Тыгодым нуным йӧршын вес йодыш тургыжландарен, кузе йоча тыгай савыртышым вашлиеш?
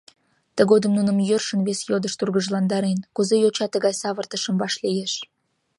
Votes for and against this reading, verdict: 2, 0, accepted